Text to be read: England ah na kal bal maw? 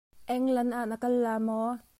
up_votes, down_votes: 0, 2